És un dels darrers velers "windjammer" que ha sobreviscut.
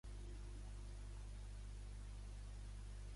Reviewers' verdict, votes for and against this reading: rejected, 1, 2